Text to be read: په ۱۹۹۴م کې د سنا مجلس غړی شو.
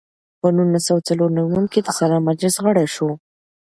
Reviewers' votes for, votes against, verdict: 0, 2, rejected